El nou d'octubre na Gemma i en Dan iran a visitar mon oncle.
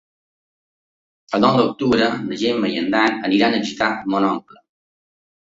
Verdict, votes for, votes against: accepted, 2, 1